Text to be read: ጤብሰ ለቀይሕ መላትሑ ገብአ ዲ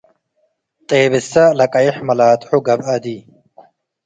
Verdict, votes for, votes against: accepted, 2, 0